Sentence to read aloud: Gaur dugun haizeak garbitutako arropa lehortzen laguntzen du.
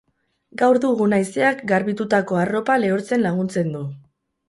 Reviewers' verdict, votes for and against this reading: rejected, 2, 2